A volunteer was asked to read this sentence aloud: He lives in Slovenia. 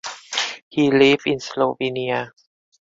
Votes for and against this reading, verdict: 0, 2, rejected